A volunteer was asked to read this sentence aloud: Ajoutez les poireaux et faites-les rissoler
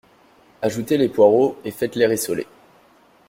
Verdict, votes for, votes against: accepted, 2, 0